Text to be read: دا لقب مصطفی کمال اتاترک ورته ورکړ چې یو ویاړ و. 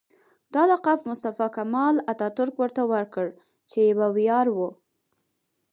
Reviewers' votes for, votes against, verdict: 4, 0, accepted